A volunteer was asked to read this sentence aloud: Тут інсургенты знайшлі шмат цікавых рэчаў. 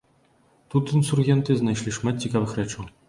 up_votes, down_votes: 3, 1